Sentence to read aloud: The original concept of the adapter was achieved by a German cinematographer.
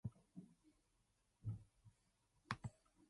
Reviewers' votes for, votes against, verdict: 0, 2, rejected